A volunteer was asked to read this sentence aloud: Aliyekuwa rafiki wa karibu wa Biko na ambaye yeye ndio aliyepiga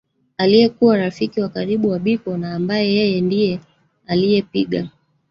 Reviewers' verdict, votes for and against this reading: rejected, 1, 2